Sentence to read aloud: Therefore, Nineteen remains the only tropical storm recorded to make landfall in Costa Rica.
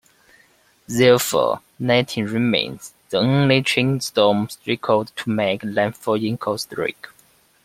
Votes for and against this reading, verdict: 0, 2, rejected